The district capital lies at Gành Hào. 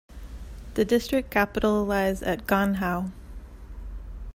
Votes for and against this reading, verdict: 2, 1, accepted